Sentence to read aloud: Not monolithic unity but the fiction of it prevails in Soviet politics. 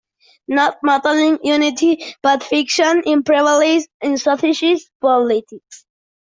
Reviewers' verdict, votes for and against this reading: rejected, 0, 2